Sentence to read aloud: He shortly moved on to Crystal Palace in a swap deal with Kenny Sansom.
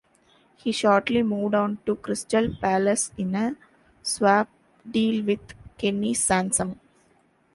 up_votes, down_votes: 2, 0